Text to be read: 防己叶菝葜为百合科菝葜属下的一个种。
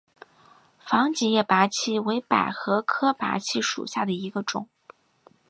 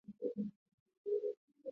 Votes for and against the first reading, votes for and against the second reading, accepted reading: 3, 0, 1, 2, first